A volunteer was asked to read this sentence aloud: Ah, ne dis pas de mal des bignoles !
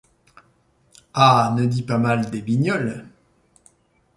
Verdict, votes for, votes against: rejected, 0, 2